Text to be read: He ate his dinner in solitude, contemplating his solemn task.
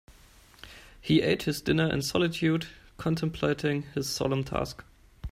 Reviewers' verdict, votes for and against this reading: accepted, 2, 0